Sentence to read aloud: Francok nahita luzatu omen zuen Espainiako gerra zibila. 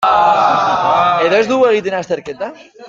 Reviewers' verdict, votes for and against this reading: rejected, 0, 2